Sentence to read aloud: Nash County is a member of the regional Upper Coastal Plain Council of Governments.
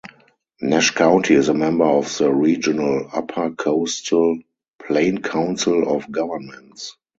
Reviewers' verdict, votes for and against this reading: rejected, 2, 2